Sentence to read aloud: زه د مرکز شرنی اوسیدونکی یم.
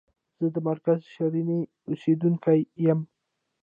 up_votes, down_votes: 0, 2